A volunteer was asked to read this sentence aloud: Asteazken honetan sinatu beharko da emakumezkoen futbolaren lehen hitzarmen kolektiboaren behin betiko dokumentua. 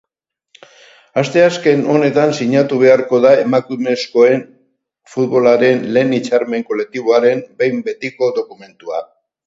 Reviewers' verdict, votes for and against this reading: accepted, 10, 0